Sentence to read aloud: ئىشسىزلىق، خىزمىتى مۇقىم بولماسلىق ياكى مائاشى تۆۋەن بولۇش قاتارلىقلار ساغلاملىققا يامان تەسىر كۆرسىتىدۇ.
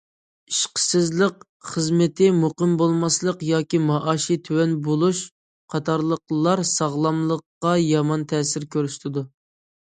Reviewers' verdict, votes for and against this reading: rejected, 0, 2